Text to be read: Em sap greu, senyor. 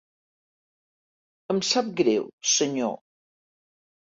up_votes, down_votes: 4, 0